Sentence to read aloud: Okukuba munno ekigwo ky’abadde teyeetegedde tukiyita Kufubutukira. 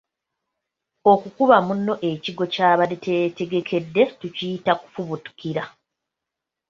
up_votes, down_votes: 2, 0